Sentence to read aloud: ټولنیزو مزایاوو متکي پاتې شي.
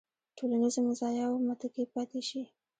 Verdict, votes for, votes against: accepted, 2, 0